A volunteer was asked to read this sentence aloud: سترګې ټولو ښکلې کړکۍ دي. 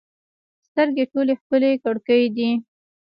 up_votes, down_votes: 0, 2